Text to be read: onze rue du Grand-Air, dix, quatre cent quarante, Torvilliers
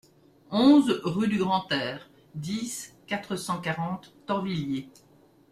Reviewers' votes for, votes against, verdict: 2, 0, accepted